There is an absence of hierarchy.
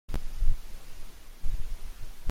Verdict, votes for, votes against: rejected, 0, 2